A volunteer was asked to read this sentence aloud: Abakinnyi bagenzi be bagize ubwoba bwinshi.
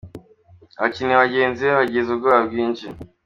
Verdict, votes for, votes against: accepted, 2, 0